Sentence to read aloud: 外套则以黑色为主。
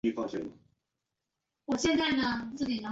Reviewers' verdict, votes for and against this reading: rejected, 0, 4